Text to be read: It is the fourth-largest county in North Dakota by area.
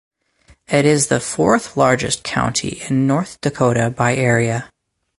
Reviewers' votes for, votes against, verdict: 4, 0, accepted